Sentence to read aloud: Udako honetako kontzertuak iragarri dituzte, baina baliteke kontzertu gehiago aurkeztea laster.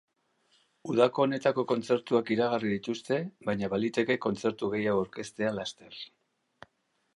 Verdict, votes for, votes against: accepted, 3, 0